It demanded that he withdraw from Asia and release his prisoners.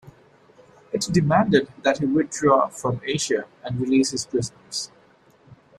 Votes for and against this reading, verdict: 2, 0, accepted